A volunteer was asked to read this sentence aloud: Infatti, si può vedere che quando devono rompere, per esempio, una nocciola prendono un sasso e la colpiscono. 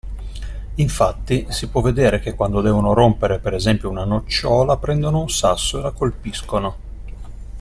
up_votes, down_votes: 2, 0